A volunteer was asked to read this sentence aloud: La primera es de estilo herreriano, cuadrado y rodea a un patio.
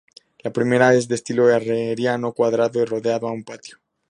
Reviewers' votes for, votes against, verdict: 0, 2, rejected